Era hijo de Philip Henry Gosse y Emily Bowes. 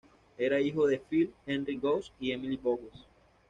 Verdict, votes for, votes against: accepted, 2, 0